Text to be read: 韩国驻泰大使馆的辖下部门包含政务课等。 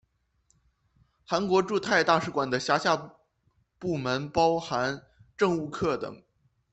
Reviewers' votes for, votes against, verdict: 2, 0, accepted